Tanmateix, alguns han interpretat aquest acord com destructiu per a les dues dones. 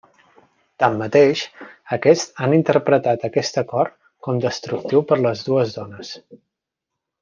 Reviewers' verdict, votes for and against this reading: rejected, 0, 2